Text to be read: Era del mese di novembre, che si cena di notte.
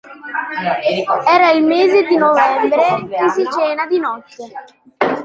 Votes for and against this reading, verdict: 2, 0, accepted